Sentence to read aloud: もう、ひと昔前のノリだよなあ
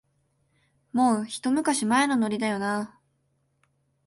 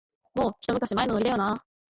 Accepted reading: first